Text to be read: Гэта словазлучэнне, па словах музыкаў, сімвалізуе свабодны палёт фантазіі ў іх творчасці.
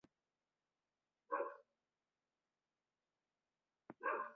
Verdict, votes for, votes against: rejected, 0, 2